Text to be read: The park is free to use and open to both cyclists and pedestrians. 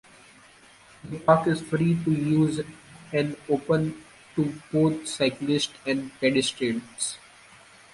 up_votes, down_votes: 2, 0